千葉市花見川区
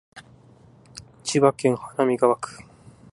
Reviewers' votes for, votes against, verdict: 2, 0, accepted